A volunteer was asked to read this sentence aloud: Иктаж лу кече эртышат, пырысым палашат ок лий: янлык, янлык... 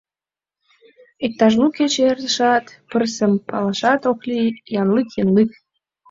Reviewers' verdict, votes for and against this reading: accepted, 2, 0